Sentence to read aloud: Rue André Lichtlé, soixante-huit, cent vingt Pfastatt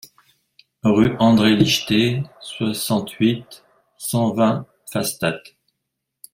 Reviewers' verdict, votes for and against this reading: accepted, 2, 1